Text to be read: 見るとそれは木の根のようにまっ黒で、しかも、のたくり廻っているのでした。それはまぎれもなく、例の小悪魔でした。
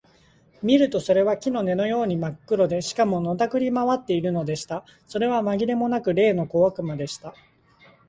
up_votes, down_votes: 2, 0